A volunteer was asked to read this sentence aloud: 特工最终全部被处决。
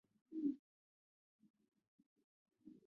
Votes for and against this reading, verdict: 0, 3, rejected